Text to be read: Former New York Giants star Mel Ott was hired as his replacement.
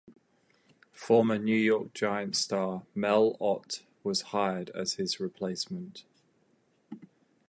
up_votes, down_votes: 4, 0